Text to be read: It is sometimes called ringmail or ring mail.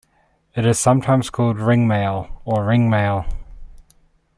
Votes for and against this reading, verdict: 2, 0, accepted